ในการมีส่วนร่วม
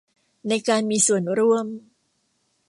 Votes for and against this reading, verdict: 2, 0, accepted